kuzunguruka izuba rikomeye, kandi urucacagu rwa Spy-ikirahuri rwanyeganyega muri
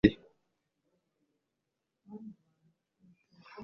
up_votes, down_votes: 0, 2